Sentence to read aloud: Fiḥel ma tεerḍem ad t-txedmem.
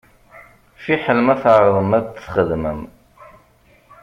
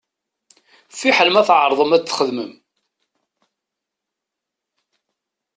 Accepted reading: second